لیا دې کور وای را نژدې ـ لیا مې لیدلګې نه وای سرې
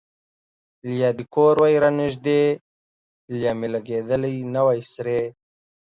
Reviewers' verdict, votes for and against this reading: accepted, 2, 0